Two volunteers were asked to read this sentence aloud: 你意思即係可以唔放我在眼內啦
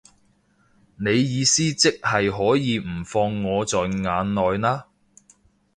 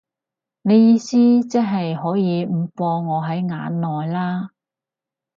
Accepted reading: first